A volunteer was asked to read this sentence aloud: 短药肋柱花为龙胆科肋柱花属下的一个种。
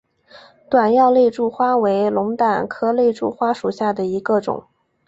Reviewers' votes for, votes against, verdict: 4, 0, accepted